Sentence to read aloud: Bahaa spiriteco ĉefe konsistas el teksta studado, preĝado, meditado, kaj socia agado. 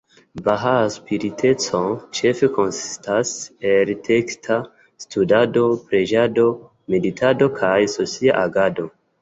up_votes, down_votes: 2, 0